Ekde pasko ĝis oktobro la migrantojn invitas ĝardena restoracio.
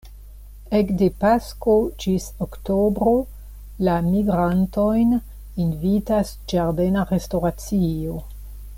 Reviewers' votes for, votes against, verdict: 2, 0, accepted